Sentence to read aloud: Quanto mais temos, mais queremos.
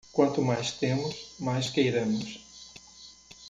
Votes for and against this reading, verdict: 1, 2, rejected